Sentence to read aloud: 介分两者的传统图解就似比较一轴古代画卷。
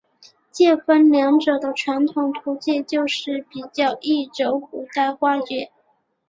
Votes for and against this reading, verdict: 2, 0, accepted